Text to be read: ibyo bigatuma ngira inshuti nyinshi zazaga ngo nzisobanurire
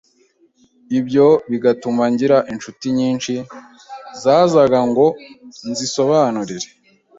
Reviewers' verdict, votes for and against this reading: accepted, 2, 0